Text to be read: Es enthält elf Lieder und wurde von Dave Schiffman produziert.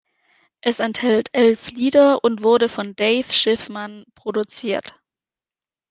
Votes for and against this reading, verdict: 2, 0, accepted